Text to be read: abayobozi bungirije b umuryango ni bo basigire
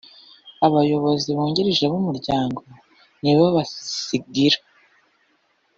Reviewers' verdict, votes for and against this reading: rejected, 1, 2